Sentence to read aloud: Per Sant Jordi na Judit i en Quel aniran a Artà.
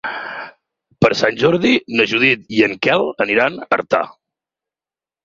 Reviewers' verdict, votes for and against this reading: accepted, 8, 2